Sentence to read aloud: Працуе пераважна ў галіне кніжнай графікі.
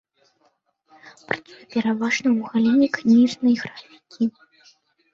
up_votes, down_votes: 0, 2